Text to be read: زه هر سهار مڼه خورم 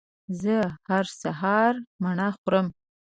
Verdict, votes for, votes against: accepted, 2, 0